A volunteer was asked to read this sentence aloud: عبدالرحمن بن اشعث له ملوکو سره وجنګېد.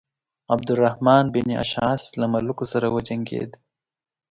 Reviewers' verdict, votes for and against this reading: accepted, 3, 0